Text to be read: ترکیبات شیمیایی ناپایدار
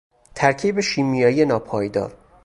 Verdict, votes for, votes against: rejected, 0, 2